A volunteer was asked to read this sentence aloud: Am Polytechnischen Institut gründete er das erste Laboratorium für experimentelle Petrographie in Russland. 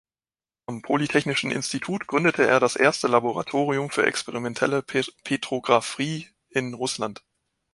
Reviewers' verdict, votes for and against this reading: rejected, 0, 2